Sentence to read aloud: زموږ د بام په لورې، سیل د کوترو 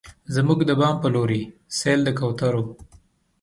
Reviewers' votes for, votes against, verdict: 2, 0, accepted